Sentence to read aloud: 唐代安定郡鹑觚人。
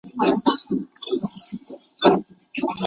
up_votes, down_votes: 0, 2